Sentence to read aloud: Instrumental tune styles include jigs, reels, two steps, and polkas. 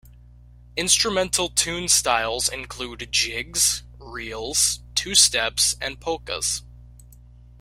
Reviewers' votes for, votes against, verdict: 2, 0, accepted